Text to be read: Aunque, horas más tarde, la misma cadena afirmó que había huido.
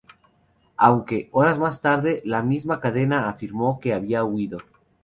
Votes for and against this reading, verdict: 2, 2, rejected